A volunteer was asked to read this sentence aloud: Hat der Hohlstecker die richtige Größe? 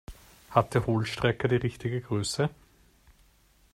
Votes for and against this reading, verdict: 1, 2, rejected